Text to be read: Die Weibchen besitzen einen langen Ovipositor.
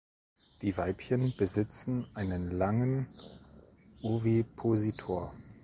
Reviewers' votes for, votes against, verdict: 2, 0, accepted